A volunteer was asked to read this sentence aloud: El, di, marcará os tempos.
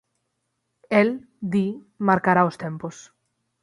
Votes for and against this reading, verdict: 6, 0, accepted